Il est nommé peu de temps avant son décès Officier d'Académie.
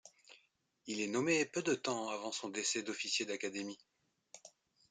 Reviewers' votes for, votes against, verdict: 0, 2, rejected